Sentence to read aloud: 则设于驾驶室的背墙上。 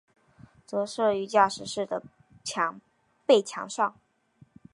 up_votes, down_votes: 0, 2